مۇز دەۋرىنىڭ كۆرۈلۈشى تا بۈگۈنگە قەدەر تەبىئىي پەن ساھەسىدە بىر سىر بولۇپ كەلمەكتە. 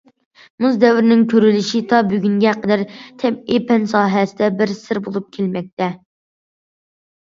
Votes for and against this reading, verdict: 2, 0, accepted